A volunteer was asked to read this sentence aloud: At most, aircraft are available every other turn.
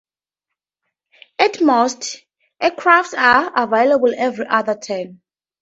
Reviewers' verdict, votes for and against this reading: accepted, 2, 0